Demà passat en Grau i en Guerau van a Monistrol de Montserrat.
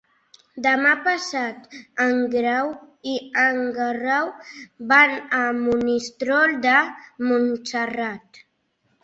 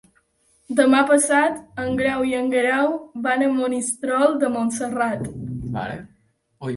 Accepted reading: first